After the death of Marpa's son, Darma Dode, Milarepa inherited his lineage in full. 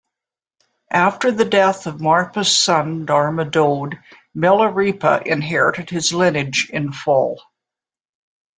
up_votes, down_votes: 2, 0